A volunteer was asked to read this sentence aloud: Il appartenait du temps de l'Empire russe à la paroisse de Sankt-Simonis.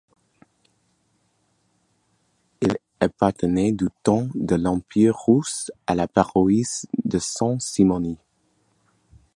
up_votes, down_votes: 0, 2